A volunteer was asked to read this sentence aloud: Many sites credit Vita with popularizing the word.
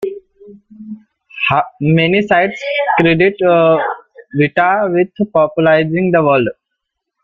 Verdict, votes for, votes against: rejected, 0, 2